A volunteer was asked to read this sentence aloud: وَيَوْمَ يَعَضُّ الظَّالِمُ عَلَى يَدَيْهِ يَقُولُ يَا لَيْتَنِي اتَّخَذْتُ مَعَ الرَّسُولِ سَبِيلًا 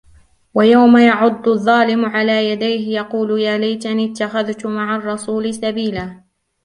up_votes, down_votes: 2, 0